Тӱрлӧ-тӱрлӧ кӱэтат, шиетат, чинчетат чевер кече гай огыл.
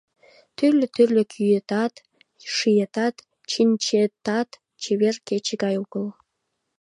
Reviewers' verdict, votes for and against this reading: accepted, 2, 0